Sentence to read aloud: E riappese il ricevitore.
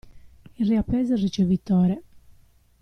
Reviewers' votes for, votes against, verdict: 1, 2, rejected